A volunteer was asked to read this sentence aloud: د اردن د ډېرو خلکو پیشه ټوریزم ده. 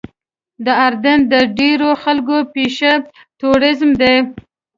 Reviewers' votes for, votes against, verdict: 2, 0, accepted